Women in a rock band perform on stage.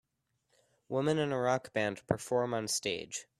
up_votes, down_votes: 2, 0